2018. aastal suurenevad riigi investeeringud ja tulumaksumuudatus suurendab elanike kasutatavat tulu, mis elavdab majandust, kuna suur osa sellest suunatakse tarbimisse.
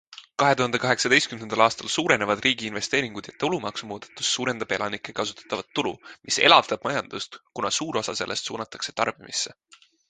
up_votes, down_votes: 0, 2